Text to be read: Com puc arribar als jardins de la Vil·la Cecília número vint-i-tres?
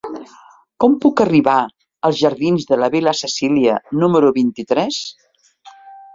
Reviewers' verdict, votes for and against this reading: accepted, 2, 0